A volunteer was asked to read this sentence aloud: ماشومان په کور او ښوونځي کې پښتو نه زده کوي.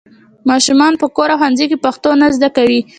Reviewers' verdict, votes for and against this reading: rejected, 0, 2